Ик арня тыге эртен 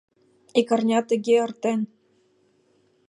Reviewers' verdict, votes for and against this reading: accepted, 2, 0